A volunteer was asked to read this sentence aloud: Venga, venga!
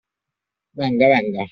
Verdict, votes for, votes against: accepted, 2, 0